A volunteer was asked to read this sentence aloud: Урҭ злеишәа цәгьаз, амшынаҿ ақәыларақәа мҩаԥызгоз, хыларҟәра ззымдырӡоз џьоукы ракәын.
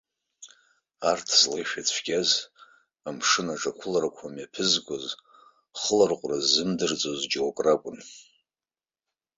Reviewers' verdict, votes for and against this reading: rejected, 1, 2